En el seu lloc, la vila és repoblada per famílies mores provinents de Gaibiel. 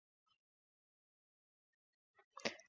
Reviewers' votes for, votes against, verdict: 0, 2, rejected